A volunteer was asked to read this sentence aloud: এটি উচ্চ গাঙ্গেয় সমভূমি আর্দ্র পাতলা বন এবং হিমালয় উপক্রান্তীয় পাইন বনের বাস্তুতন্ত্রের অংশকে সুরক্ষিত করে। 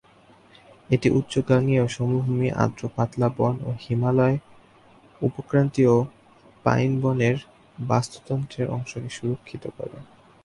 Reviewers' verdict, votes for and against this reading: accepted, 2, 0